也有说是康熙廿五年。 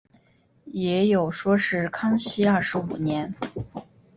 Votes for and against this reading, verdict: 3, 0, accepted